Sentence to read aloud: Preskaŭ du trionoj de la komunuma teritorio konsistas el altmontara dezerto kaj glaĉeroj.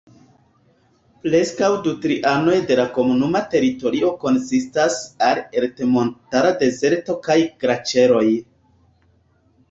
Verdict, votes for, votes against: rejected, 1, 2